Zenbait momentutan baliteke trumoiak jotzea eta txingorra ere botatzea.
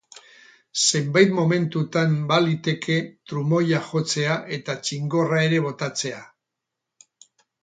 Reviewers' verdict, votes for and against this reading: rejected, 4, 4